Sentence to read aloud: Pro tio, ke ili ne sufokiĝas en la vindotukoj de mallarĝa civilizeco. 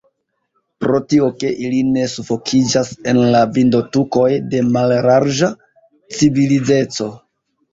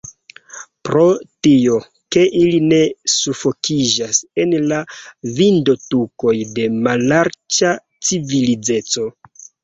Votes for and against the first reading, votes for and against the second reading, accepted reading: 1, 2, 2, 0, second